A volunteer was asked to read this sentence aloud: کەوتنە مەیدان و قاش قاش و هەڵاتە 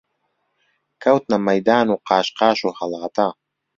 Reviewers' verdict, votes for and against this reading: rejected, 0, 2